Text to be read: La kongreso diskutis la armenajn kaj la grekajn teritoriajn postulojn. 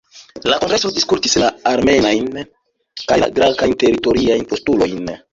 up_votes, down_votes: 1, 2